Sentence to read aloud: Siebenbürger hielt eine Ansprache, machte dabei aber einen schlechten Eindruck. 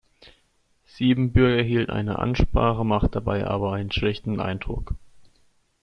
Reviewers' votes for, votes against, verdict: 1, 2, rejected